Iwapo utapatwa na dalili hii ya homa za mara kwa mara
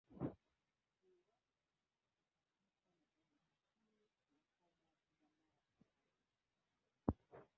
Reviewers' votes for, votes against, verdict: 2, 3, rejected